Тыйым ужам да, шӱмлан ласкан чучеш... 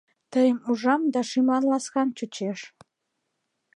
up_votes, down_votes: 2, 0